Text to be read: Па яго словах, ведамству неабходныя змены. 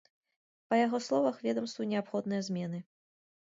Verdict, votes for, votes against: accepted, 2, 0